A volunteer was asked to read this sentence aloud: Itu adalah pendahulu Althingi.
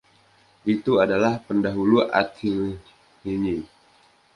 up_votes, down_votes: 1, 2